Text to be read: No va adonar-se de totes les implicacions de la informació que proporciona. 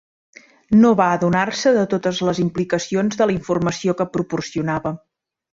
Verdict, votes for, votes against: rejected, 1, 2